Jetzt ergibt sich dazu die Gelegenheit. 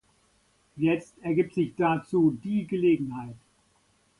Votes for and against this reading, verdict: 2, 0, accepted